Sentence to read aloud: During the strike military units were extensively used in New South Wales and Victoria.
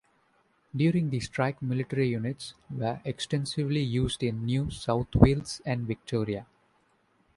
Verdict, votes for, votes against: accepted, 2, 0